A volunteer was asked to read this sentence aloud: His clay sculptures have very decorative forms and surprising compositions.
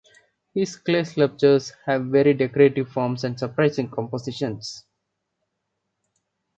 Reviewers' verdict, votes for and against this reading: rejected, 1, 2